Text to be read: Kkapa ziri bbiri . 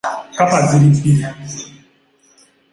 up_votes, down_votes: 2, 0